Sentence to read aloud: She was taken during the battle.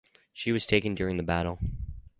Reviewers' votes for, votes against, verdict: 4, 0, accepted